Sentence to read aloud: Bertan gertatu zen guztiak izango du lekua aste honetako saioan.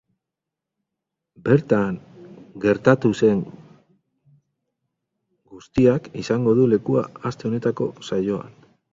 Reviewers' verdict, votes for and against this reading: rejected, 0, 4